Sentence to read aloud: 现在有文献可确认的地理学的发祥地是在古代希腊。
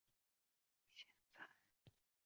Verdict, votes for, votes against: rejected, 0, 3